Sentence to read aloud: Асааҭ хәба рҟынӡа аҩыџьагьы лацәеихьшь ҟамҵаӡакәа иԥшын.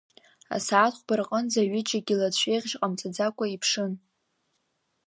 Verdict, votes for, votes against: accepted, 2, 1